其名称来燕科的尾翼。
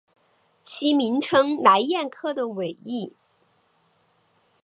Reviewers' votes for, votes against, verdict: 2, 1, accepted